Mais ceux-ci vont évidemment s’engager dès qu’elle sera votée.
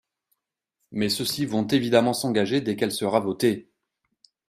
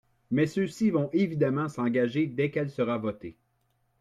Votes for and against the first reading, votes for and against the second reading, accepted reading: 3, 0, 1, 2, first